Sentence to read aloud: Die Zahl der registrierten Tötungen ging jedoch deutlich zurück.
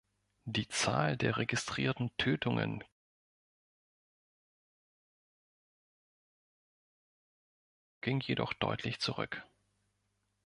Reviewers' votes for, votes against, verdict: 1, 2, rejected